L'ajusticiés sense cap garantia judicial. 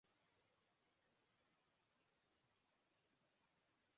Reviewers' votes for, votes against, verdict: 0, 2, rejected